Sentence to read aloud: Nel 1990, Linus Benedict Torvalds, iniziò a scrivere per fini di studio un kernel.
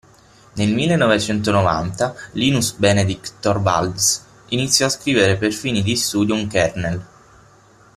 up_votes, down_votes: 0, 2